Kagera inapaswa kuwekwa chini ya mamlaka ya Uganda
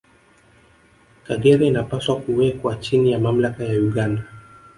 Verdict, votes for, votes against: accepted, 2, 1